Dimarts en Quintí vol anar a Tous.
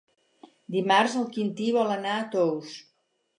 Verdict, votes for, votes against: rejected, 2, 4